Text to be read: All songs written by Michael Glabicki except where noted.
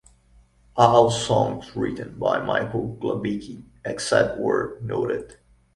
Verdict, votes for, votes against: rejected, 0, 2